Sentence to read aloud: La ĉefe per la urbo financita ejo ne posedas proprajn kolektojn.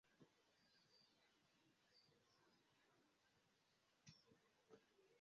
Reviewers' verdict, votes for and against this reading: rejected, 0, 2